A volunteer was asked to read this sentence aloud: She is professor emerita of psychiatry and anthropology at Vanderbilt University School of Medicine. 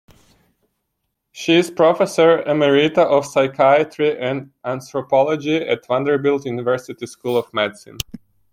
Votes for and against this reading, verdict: 2, 1, accepted